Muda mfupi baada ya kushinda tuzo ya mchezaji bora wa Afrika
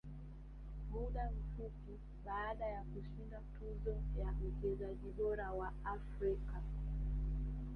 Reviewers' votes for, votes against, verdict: 2, 0, accepted